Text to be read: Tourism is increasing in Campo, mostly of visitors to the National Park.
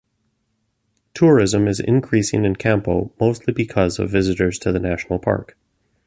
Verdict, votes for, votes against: rejected, 1, 2